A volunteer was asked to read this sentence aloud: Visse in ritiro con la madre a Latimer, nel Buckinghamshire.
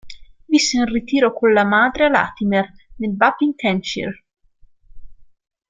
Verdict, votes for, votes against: accepted, 2, 0